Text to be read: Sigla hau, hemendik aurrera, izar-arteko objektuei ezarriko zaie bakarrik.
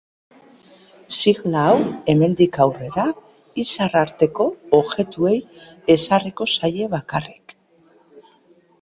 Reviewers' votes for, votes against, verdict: 3, 4, rejected